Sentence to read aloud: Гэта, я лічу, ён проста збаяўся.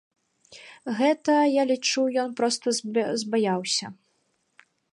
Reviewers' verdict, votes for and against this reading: rejected, 1, 2